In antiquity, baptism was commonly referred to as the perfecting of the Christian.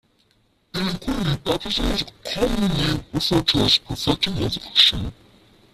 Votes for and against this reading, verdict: 0, 2, rejected